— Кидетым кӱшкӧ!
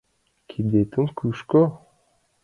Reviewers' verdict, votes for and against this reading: rejected, 0, 2